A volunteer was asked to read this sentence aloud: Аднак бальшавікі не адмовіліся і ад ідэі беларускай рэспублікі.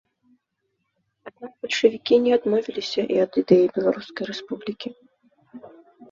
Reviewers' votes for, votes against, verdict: 1, 2, rejected